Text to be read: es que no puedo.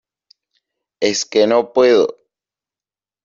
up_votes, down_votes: 2, 0